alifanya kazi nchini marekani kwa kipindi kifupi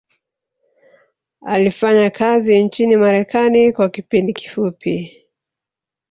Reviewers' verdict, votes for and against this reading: accepted, 2, 1